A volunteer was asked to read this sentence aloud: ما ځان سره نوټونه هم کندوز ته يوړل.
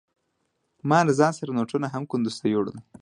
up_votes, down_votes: 2, 1